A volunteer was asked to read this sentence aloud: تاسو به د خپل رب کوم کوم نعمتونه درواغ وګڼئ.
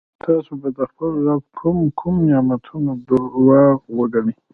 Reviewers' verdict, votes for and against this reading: accepted, 2, 0